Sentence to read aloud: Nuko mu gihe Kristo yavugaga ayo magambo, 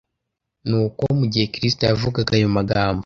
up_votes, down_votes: 2, 0